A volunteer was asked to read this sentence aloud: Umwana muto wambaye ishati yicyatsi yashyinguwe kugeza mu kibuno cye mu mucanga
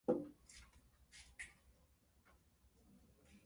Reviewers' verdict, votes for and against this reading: rejected, 0, 2